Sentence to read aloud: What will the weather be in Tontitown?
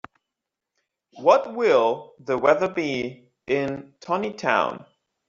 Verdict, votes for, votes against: accepted, 2, 0